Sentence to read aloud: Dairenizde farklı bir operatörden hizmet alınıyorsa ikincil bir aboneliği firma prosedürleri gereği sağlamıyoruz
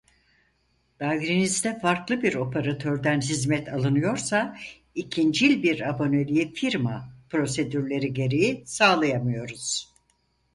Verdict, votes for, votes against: rejected, 2, 4